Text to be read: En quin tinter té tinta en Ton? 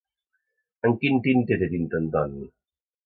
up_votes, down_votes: 2, 0